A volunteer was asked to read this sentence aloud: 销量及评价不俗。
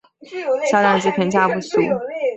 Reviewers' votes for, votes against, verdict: 2, 0, accepted